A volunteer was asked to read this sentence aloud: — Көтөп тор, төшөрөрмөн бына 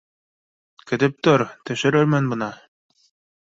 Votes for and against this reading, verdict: 2, 0, accepted